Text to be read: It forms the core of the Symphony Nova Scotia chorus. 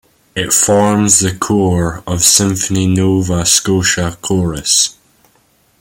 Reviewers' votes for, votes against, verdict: 1, 2, rejected